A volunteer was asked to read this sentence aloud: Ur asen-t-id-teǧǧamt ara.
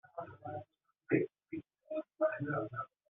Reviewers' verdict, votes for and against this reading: rejected, 0, 2